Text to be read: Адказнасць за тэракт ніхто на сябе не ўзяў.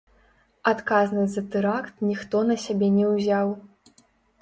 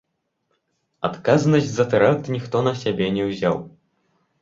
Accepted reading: second